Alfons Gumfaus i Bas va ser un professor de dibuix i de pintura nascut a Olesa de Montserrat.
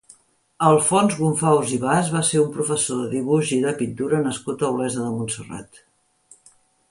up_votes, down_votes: 2, 0